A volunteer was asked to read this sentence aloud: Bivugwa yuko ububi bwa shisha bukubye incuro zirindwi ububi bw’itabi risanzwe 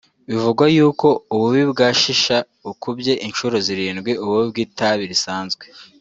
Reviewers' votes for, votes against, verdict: 2, 0, accepted